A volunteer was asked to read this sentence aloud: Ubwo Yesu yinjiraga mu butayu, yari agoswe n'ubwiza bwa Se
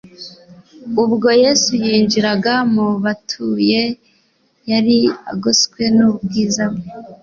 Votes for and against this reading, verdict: 1, 2, rejected